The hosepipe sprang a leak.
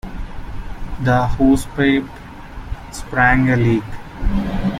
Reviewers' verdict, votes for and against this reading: accepted, 2, 1